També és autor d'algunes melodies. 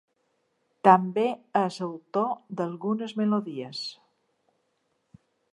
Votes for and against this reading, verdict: 1, 2, rejected